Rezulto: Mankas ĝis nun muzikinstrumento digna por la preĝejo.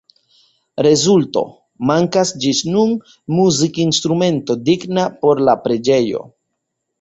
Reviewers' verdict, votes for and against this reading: accepted, 2, 0